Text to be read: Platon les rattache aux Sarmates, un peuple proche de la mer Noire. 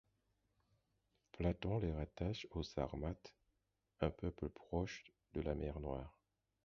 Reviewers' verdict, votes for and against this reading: rejected, 2, 4